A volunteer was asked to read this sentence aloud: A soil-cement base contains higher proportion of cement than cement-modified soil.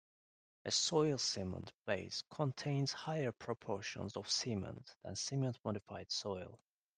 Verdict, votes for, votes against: rejected, 1, 2